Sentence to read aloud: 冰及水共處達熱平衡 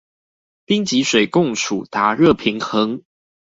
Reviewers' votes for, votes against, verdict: 2, 0, accepted